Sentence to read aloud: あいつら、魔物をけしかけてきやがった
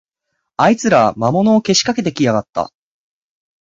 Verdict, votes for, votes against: accepted, 4, 0